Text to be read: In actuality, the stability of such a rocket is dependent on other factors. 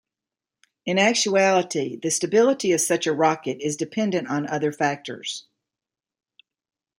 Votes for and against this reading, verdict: 2, 0, accepted